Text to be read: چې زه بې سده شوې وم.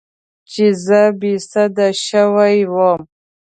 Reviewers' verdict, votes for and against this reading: accepted, 2, 0